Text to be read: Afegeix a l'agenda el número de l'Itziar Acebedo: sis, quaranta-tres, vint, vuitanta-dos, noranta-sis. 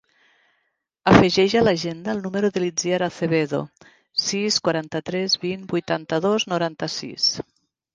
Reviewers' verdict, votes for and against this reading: accepted, 3, 0